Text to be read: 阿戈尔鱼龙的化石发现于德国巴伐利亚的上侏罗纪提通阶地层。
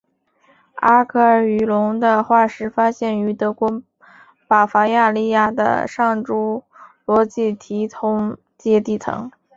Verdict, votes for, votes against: accepted, 2, 0